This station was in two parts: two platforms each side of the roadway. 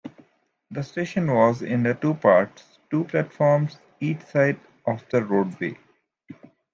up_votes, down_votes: 2, 1